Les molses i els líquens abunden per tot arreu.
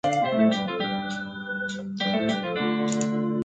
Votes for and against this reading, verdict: 0, 2, rejected